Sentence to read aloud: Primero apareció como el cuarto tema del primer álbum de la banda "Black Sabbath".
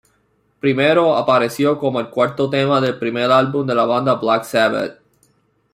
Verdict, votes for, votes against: rejected, 1, 2